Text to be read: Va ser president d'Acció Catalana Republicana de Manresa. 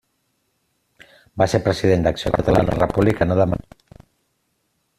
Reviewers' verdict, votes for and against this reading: rejected, 0, 2